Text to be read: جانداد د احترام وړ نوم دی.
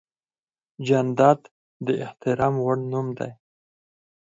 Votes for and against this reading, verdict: 4, 2, accepted